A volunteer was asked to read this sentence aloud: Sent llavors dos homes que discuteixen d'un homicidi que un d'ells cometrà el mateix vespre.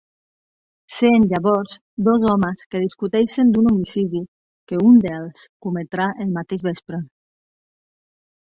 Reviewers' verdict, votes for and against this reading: rejected, 1, 3